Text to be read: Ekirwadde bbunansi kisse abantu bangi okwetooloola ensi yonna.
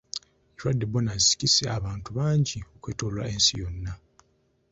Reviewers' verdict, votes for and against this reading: rejected, 0, 2